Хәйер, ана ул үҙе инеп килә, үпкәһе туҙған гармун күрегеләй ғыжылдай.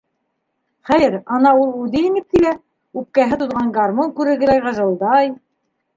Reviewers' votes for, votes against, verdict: 1, 2, rejected